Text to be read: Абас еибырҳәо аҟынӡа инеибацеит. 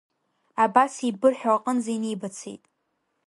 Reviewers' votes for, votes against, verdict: 1, 2, rejected